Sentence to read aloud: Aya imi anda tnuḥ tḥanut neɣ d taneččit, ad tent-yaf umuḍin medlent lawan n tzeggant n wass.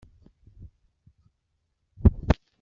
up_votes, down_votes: 0, 2